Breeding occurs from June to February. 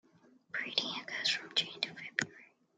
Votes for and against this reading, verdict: 1, 2, rejected